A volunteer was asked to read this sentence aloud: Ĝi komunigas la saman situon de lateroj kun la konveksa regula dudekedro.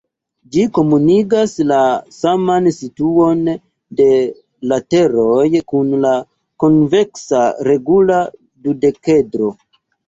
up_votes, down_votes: 2, 1